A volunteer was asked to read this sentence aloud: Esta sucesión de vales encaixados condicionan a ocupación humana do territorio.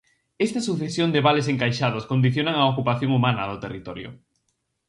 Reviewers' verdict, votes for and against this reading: accepted, 4, 0